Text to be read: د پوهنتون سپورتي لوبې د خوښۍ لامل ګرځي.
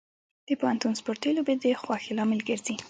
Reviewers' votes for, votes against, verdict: 2, 0, accepted